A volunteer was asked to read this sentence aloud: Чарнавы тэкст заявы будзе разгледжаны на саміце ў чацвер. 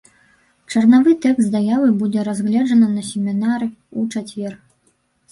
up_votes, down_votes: 3, 5